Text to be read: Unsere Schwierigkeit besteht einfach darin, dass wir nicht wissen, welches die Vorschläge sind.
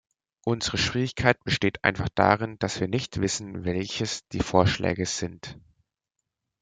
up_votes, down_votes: 2, 0